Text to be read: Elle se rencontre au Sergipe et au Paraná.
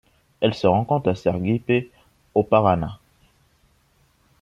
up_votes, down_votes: 1, 2